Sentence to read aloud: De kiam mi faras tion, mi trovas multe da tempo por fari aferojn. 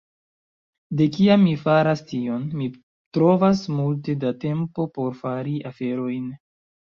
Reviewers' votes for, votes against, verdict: 2, 0, accepted